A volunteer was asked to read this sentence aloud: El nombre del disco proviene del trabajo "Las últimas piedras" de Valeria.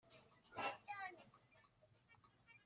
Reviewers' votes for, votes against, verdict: 0, 2, rejected